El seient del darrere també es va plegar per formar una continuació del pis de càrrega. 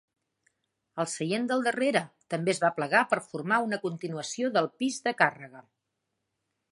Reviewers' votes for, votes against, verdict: 2, 0, accepted